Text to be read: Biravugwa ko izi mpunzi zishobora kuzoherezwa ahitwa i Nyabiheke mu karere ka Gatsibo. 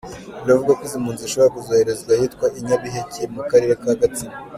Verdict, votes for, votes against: accepted, 2, 1